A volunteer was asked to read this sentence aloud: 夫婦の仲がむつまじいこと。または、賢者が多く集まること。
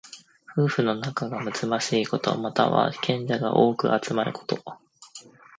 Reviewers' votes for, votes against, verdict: 2, 0, accepted